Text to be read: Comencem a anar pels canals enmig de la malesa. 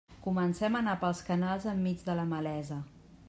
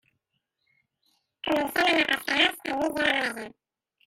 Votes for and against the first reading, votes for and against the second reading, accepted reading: 2, 0, 0, 2, first